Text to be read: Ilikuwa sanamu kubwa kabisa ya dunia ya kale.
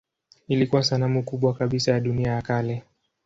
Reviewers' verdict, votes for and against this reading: accepted, 2, 0